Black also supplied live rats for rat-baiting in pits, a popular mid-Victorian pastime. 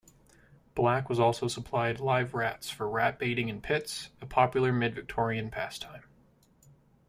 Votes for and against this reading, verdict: 1, 2, rejected